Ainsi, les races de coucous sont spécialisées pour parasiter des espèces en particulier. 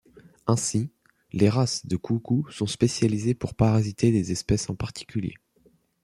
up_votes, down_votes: 2, 0